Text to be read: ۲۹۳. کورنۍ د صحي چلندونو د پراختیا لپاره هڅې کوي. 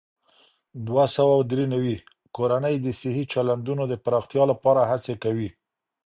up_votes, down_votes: 0, 2